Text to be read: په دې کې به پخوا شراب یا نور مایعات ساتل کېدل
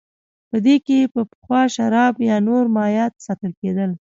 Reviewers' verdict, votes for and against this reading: accepted, 2, 0